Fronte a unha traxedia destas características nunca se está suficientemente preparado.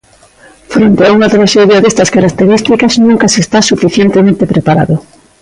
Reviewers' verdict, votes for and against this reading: accepted, 2, 0